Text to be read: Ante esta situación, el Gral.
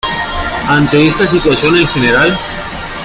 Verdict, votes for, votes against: rejected, 1, 2